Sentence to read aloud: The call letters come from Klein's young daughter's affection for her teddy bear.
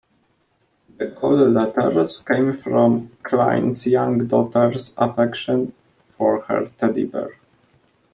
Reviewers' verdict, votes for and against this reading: accepted, 2, 0